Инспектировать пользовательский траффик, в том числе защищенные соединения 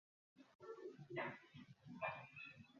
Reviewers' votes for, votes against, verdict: 0, 2, rejected